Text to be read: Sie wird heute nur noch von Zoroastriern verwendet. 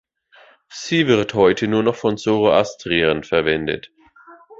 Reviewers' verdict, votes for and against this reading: rejected, 1, 2